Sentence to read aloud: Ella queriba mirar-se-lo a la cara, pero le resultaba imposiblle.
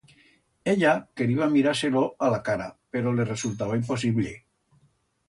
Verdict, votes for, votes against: accepted, 2, 0